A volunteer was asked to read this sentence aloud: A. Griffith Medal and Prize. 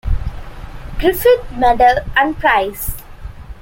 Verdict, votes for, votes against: rejected, 1, 2